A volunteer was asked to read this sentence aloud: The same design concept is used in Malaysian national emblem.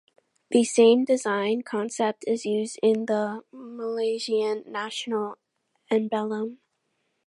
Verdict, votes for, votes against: rejected, 0, 2